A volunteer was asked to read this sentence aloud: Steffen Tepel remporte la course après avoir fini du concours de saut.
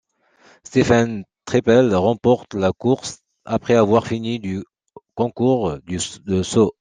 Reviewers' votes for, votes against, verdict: 0, 2, rejected